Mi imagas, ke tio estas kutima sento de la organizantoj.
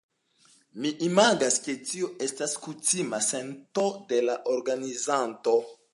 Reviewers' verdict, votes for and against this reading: accepted, 2, 0